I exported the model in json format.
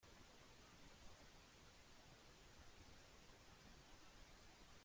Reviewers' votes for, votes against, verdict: 0, 2, rejected